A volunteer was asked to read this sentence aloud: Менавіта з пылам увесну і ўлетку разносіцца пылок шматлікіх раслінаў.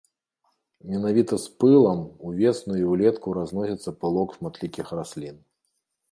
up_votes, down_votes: 2, 3